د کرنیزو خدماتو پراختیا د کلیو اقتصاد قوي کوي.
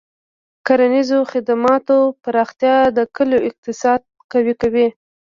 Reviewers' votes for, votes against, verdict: 2, 0, accepted